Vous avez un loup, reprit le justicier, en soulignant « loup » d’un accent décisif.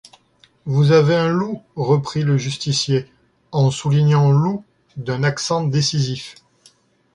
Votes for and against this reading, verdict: 2, 0, accepted